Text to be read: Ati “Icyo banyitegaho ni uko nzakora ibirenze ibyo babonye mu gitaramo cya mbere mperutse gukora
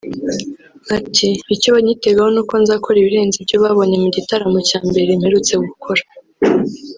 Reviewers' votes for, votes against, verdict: 1, 2, rejected